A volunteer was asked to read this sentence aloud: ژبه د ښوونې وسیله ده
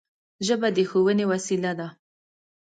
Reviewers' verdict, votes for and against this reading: accepted, 2, 0